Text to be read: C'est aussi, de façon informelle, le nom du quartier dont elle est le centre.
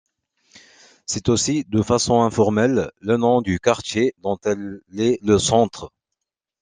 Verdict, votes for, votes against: accepted, 2, 1